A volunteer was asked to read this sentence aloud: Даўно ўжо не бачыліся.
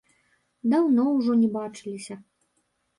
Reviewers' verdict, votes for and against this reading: accepted, 2, 0